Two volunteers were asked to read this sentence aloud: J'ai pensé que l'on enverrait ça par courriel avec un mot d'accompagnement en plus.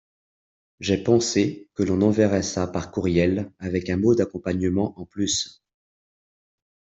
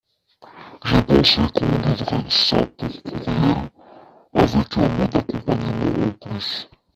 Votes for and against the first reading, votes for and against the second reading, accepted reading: 2, 0, 0, 2, first